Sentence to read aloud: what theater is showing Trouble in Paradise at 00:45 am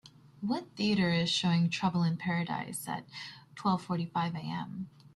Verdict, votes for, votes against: rejected, 0, 2